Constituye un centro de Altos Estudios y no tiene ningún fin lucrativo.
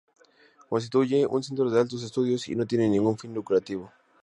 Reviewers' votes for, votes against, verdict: 0, 2, rejected